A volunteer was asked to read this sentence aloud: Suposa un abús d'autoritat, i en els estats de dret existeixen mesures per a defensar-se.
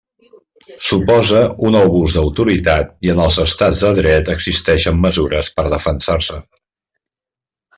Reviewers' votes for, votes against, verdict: 2, 1, accepted